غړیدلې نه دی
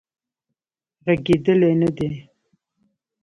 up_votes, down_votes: 2, 1